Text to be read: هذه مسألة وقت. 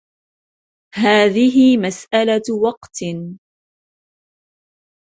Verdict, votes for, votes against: accepted, 2, 0